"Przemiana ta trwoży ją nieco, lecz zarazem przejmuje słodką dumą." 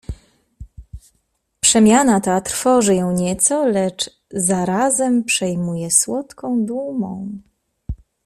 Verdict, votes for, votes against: accepted, 2, 0